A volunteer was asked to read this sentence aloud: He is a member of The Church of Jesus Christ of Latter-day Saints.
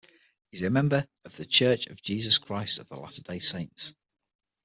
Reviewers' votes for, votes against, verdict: 0, 6, rejected